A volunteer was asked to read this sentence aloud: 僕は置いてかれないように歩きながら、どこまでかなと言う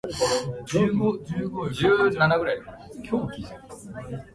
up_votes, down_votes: 0, 2